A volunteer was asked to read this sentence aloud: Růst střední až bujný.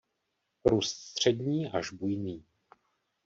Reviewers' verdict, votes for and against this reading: rejected, 1, 2